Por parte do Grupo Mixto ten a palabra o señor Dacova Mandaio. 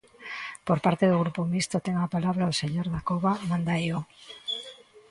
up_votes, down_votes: 1, 2